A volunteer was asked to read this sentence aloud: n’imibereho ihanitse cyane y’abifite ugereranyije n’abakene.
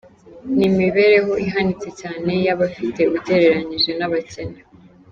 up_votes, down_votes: 3, 0